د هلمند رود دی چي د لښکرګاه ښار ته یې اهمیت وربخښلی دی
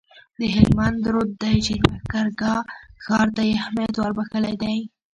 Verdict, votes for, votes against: accepted, 2, 1